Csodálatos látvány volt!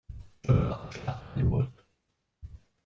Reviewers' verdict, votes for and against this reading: rejected, 0, 2